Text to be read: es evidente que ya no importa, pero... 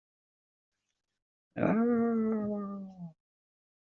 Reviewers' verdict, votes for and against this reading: rejected, 0, 2